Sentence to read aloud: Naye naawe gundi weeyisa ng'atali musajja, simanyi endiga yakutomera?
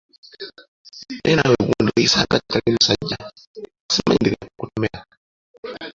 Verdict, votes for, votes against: rejected, 1, 2